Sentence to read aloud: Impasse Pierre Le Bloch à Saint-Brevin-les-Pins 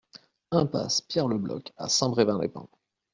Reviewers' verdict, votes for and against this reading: accepted, 2, 1